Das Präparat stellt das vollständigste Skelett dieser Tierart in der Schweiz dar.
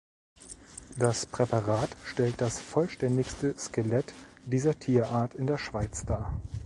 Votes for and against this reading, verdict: 2, 0, accepted